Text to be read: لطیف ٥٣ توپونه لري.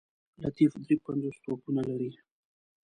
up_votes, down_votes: 0, 2